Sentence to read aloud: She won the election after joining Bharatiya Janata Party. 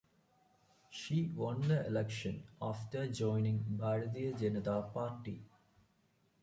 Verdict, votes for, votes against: rejected, 1, 2